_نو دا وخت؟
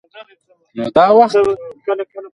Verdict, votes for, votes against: rejected, 1, 2